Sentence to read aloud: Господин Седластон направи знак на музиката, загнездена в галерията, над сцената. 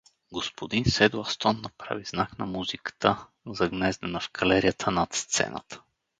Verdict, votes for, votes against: accepted, 2, 0